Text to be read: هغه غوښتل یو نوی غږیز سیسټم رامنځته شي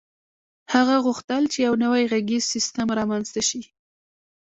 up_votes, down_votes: 0, 2